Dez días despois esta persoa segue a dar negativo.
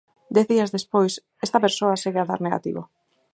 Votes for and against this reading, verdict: 6, 0, accepted